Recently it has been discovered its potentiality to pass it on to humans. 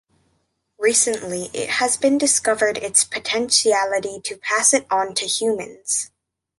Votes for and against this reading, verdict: 2, 1, accepted